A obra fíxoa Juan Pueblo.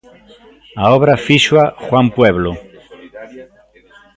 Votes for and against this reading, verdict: 0, 2, rejected